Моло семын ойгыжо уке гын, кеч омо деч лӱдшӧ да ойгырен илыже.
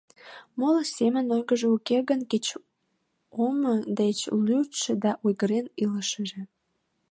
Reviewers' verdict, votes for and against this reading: rejected, 0, 3